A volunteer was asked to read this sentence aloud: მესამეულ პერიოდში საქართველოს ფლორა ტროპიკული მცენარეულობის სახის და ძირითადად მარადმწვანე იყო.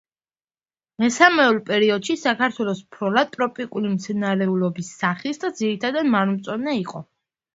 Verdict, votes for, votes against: accepted, 2, 0